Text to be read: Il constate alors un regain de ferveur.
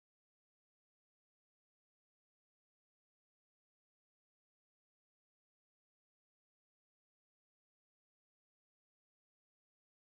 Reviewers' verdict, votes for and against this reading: rejected, 0, 2